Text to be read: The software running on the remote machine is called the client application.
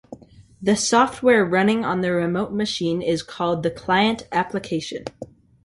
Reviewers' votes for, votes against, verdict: 3, 0, accepted